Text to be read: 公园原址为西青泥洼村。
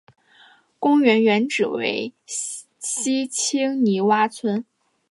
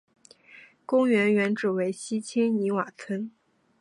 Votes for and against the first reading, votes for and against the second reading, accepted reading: 3, 0, 1, 2, first